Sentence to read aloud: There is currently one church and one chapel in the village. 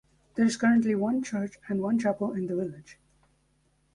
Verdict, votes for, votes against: rejected, 1, 2